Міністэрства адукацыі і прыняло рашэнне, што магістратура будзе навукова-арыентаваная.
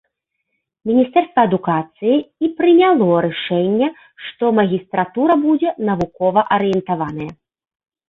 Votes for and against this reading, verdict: 1, 2, rejected